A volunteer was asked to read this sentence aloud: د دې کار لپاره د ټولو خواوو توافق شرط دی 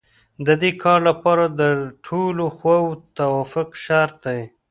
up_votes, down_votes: 0, 2